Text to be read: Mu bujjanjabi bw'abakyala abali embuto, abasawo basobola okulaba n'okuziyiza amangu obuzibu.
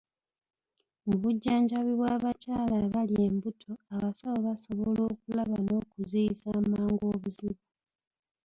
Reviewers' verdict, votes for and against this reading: accepted, 2, 0